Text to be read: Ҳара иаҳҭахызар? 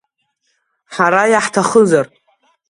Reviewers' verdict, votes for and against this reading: accepted, 2, 0